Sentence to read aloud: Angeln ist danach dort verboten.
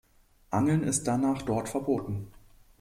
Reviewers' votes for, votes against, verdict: 2, 0, accepted